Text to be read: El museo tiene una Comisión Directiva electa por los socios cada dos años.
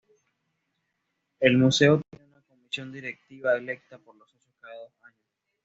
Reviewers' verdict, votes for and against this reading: rejected, 1, 2